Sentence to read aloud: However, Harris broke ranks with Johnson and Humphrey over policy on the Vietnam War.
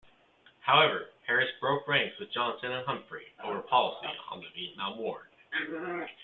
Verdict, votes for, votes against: rejected, 0, 2